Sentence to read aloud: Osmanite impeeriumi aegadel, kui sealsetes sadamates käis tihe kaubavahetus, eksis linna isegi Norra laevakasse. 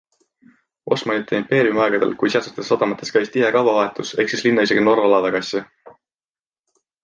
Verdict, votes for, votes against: accepted, 2, 0